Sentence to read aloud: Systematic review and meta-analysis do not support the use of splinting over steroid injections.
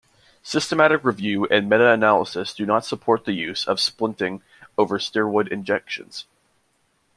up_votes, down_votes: 2, 1